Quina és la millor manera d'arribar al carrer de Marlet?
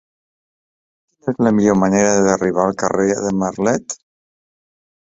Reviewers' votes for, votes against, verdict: 1, 3, rejected